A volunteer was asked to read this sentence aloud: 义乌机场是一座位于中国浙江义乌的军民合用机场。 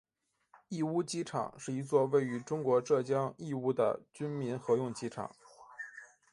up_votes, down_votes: 2, 1